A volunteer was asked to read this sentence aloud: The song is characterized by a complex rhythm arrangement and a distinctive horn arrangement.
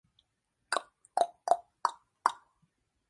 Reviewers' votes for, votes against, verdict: 0, 2, rejected